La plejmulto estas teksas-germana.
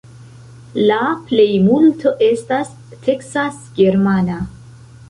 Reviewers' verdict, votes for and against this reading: accepted, 2, 0